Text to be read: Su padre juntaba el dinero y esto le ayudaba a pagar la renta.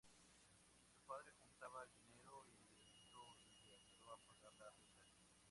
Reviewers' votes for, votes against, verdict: 0, 2, rejected